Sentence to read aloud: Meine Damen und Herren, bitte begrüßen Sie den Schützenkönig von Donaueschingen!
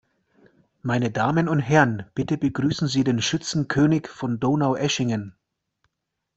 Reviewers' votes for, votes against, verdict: 2, 0, accepted